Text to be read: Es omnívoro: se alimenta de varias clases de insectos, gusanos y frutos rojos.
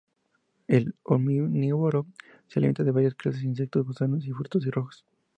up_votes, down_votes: 4, 0